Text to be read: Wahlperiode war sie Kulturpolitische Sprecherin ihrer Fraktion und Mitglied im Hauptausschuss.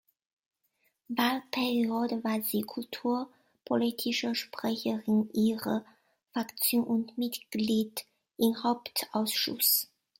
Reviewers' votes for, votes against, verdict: 2, 1, accepted